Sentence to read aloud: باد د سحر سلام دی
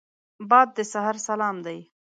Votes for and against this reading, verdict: 2, 0, accepted